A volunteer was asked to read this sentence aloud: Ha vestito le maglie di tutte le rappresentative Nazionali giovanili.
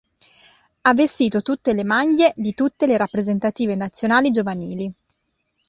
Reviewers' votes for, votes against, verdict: 0, 2, rejected